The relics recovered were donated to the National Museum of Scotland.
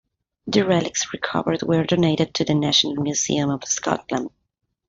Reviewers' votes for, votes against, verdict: 2, 0, accepted